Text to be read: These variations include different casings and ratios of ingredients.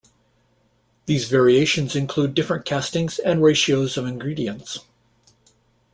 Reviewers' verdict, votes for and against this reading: rejected, 0, 2